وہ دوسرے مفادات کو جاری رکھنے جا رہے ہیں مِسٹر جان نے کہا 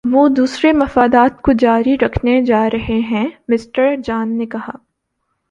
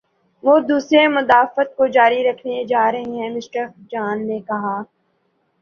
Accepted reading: first